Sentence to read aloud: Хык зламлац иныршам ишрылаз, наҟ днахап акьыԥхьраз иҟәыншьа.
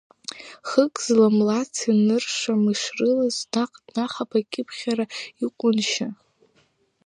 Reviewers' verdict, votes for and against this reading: rejected, 1, 2